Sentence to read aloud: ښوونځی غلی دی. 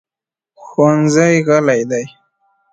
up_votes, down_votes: 2, 0